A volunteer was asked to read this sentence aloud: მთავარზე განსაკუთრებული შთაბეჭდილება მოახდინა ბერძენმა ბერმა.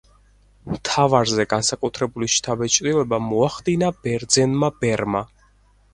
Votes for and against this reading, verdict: 4, 0, accepted